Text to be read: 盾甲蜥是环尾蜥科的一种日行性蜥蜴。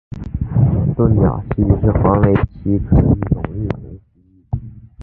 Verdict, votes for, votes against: rejected, 0, 2